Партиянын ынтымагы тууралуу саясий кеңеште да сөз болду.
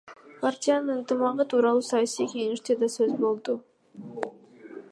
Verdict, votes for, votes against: rejected, 1, 2